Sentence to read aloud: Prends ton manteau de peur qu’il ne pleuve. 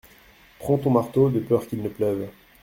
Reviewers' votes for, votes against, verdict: 1, 2, rejected